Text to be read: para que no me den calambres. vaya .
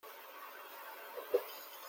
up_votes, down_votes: 0, 2